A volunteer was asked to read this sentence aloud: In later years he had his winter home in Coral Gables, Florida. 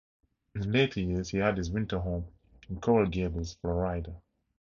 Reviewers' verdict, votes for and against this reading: rejected, 0, 2